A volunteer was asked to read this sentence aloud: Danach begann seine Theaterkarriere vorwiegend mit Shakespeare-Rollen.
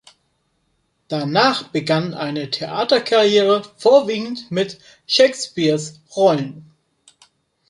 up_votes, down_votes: 0, 3